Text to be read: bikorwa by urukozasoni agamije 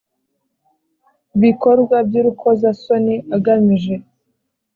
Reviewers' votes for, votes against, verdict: 2, 0, accepted